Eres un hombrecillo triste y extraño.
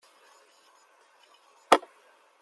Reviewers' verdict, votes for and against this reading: rejected, 0, 2